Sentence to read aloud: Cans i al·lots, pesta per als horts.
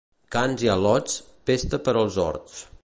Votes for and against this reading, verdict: 2, 0, accepted